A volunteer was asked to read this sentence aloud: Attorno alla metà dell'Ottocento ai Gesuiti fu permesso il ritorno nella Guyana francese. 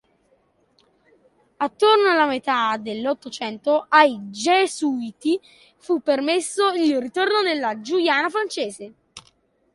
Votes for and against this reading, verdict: 0, 2, rejected